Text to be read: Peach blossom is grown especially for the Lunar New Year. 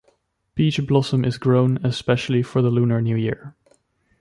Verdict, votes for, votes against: accepted, 2, 0